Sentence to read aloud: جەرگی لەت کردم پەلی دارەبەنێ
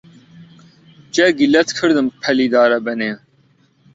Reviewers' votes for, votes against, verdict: 2, 0, accepted